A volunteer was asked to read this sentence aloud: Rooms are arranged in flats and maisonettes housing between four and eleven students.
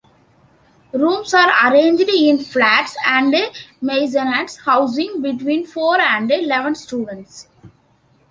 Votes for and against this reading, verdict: 0, 2, rejected